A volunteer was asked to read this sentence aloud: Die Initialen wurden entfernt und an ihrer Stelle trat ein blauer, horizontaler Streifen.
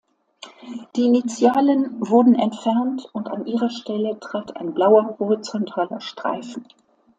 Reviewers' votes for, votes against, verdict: 2, 0, accepted